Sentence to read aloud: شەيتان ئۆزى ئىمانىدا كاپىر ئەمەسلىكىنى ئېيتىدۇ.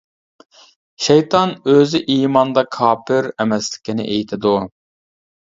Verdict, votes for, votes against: rejected, 1, 2